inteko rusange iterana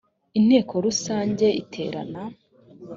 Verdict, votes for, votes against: accepted, 2, 0